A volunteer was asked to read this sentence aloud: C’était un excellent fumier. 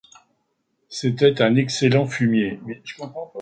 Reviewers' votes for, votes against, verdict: 0, 2, rejected